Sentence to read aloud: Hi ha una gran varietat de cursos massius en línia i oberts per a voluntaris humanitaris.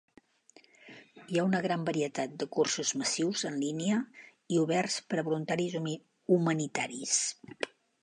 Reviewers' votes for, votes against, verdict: 0, 2, rejected